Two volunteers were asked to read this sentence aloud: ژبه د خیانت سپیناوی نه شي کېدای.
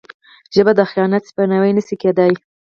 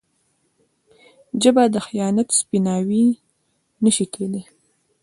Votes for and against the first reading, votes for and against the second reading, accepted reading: 2, 4, 2, 0, second